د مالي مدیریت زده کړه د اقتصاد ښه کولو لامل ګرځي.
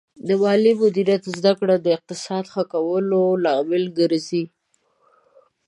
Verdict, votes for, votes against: accepted, 2, 1